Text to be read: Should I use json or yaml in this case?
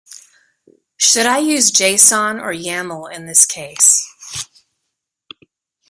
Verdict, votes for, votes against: accepted, 2, 0